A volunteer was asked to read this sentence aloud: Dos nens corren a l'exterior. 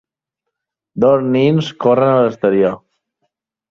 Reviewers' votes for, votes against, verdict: 2, 1, accepted